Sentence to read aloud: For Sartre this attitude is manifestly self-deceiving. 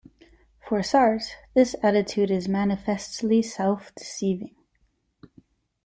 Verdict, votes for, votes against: rejected, 1, 2